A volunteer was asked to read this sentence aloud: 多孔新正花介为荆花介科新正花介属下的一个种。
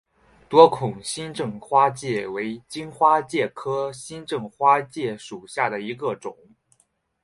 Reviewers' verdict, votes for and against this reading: rejected, 0, 2